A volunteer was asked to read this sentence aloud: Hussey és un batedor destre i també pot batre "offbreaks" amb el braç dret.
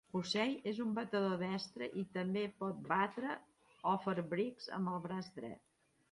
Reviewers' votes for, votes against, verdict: 2, 0, accepted